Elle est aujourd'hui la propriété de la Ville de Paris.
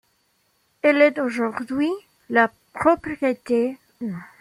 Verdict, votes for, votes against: rejected, 1, 2